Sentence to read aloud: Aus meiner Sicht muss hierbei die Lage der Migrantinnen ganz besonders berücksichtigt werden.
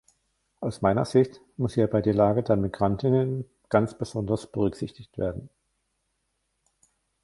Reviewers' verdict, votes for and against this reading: rejected, 1, 2